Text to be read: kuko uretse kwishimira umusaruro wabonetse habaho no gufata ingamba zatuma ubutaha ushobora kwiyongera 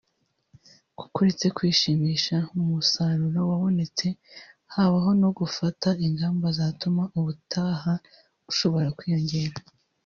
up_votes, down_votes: 1, 2